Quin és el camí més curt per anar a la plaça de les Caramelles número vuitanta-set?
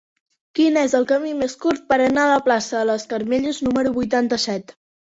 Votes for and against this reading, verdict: 1, 2, rejected